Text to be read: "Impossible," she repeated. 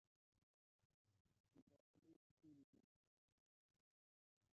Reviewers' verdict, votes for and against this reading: rejected, 0, 2